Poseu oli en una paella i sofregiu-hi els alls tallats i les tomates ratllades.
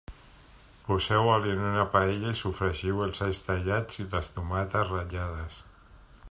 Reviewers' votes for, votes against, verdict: 2, 1, accepted